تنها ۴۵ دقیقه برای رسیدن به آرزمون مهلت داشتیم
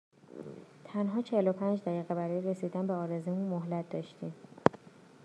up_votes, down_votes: 0, 2